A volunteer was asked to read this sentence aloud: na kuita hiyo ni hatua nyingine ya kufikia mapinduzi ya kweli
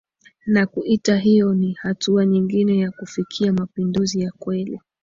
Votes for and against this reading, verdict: 2, 0, accepted